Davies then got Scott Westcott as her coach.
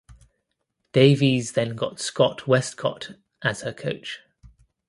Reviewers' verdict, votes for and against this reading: accepted, 2, 0